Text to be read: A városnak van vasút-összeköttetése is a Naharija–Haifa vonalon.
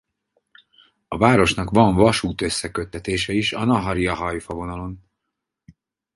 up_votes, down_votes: 4, 0